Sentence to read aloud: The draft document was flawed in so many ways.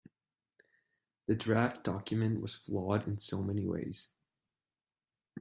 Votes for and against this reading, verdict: 2, 0, accepted